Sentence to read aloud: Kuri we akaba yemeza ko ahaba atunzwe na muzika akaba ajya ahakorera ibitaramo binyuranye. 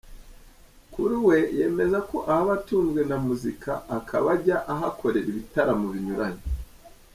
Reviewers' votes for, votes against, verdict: 0, 2, rejected